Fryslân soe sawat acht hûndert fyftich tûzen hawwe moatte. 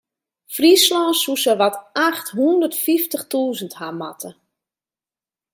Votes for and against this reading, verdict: 1, 2, rejected